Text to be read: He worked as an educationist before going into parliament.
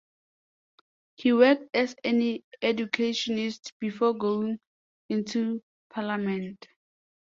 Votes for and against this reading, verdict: 0, 2, rejected